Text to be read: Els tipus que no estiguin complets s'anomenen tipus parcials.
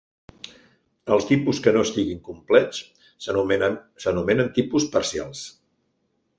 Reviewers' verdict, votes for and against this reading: rejected, 1, 2